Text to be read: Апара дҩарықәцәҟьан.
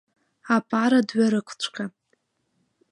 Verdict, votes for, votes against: rejected, 0, 3